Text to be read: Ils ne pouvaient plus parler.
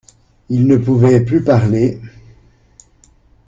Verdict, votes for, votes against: accepted, 2, 0